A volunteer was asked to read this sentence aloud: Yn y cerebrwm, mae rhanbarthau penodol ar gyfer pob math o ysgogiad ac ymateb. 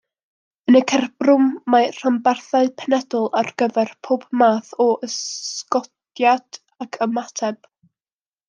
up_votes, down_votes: 1, 2